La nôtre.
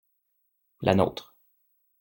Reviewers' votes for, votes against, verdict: 2, 0, accepted